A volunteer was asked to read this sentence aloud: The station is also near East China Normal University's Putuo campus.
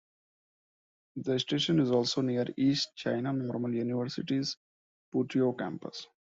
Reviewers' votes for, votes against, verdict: 2, 1, accepted